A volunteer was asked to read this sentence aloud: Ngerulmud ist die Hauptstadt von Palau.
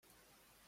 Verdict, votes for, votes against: rejected, 0, 2